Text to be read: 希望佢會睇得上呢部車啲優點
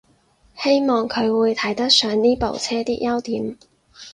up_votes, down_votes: 4, 0